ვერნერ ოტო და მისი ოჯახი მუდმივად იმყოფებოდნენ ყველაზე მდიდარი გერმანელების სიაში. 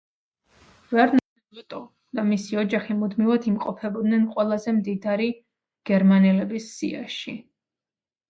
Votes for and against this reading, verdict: 2, 1, accepted